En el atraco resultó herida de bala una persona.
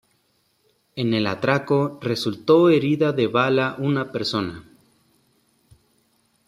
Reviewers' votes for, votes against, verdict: 2, 0, accepted